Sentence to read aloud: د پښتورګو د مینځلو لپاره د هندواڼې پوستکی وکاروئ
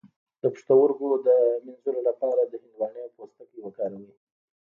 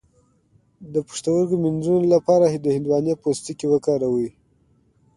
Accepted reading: second